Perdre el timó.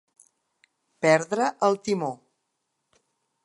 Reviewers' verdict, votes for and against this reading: accepted, 2, 0